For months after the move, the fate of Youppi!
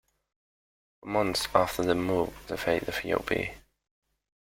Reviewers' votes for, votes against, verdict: 1, 2, rejected